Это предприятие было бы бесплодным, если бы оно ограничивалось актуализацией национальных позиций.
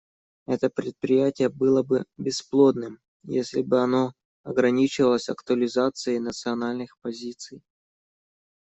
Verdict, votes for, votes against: accepted, 2, 0